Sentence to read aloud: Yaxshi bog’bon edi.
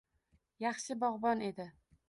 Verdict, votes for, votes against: rejected, 1, 2